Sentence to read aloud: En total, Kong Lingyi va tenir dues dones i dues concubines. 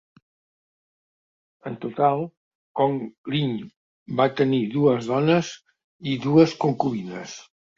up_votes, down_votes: 2, 0